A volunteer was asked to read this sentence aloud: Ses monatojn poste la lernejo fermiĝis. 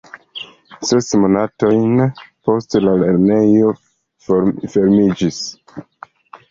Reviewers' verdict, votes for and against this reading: rejected, 0, 2